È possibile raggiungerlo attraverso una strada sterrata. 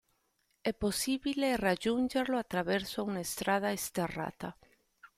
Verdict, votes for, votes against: accepted, 2, 0